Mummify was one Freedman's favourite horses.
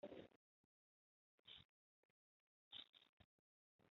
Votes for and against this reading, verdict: 0, 2, rejected